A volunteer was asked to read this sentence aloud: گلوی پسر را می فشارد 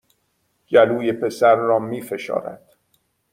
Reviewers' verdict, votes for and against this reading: accepted, 2, 0